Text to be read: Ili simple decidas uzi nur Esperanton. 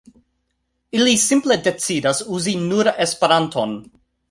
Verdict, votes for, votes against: accepted, 3, 0